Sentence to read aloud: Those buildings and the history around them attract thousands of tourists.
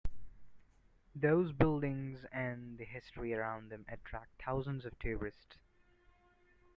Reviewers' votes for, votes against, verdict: 2, 0, accepted